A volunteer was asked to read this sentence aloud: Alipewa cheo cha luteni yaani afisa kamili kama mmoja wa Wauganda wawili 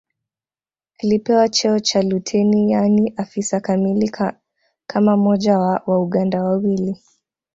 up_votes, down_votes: 2, 1